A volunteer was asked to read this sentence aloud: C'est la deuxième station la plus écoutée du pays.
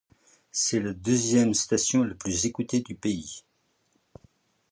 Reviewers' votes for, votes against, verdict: 1, 2, rejected